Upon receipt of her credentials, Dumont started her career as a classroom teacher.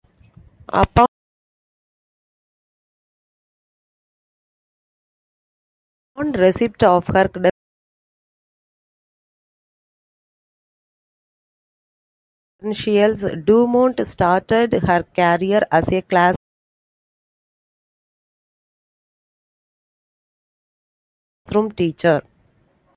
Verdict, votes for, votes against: rejected, 0, 2